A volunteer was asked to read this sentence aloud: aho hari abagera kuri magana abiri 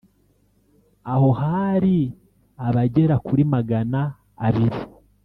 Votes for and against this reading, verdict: 0, 2, rejected